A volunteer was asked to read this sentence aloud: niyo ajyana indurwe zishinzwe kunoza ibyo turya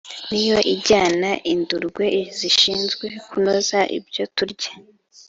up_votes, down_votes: 3, 0